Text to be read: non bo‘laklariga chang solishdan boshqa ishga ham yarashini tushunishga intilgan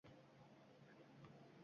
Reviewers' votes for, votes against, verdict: 0, 2, rejected